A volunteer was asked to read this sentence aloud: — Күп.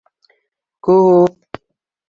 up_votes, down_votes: 2, 0